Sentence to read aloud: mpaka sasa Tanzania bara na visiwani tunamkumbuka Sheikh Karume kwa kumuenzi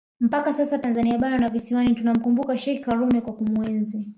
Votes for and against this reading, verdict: 2, 0, accepted